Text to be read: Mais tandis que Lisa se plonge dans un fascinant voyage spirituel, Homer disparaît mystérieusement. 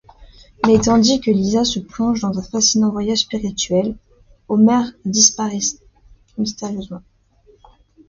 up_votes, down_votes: 0, 2